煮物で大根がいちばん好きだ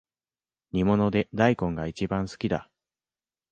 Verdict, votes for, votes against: rejected, 1, 2